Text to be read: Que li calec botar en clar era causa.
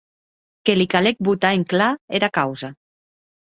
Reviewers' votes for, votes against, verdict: 2, 0, accepted